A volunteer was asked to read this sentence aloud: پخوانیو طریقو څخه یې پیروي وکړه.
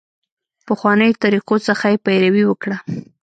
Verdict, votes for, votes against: accepted, 2, 1